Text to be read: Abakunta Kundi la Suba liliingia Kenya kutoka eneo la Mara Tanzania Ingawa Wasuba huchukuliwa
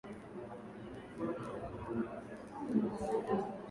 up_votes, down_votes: 0, 7